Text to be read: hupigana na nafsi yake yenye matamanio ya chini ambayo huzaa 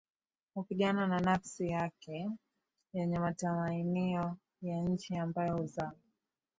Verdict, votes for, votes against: accepted, 4, 1